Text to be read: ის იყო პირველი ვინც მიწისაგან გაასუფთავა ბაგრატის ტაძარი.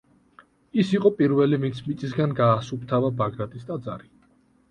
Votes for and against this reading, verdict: 2, 1, accepted